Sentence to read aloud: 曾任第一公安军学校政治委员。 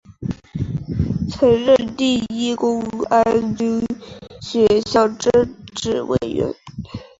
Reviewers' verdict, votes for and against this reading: accepted, 2, 0